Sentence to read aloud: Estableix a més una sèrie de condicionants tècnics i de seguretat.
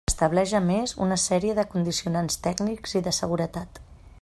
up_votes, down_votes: 2, 0